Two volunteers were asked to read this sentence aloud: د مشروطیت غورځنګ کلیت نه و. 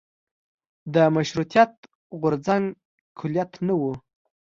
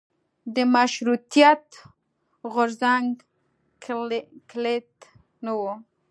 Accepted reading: first